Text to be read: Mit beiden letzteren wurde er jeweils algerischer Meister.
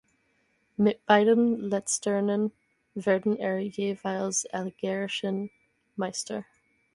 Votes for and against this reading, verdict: 0, 4, rejected